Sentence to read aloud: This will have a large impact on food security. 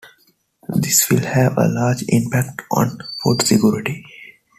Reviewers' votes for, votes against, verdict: 1, 2, rejected